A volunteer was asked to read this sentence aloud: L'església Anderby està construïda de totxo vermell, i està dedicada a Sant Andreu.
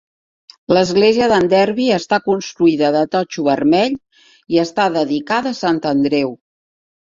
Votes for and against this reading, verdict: 2, 1, accepted